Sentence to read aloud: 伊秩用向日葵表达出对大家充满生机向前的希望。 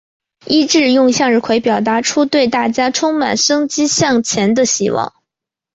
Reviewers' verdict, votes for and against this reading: accepted, 2, 0